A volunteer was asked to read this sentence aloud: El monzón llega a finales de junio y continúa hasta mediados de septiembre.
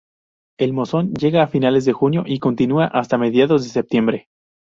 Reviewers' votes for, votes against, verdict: 2, 0, accepted